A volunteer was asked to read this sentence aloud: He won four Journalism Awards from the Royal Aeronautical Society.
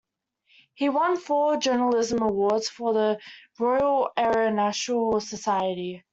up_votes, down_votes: 0, 2